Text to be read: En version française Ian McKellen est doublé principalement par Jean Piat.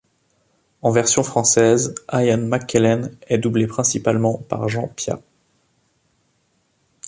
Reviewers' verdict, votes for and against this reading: rejected, 1, 2